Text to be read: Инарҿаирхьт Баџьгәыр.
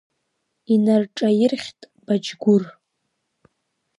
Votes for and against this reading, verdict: 2, 1, accepted